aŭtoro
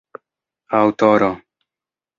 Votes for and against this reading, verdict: 2, 1, accepted